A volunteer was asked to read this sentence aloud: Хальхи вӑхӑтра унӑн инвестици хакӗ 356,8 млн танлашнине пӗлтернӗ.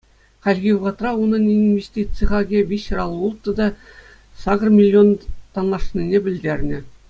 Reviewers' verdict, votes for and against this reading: rejected, 0, 2